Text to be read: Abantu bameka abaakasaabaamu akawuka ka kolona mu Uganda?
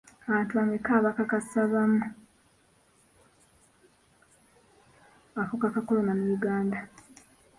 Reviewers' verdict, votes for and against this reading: rejected, 0, 2